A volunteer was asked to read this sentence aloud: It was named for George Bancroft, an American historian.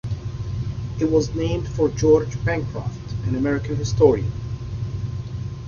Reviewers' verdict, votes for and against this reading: accepted, 2, 1